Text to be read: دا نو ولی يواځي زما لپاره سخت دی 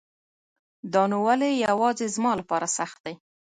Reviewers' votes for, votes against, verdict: 2, 0, accepted